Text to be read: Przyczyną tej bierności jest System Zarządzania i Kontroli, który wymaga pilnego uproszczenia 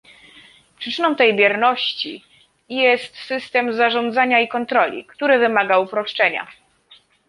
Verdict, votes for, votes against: rejected, 1, 2